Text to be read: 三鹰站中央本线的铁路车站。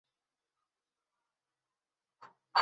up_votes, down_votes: 1, 2